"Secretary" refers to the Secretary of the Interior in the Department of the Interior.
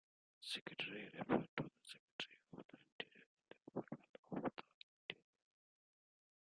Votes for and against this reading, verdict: 0, 2, rejected